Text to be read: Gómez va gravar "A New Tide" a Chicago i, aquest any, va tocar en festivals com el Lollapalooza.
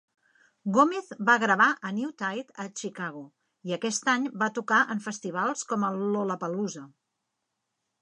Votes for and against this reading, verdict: 2, 1, accepted